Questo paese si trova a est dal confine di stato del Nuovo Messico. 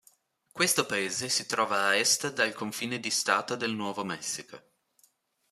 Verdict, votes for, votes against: accepted, 2, 0